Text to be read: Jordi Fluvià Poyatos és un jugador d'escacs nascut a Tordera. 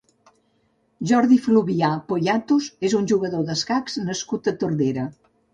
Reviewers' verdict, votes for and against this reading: accepted, 3, 0